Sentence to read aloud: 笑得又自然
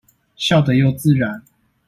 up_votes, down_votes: 2, 0